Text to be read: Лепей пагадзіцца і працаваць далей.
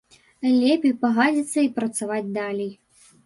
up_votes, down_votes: 2, 3